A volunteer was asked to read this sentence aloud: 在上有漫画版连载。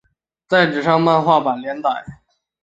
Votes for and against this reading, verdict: 2, 0, accepted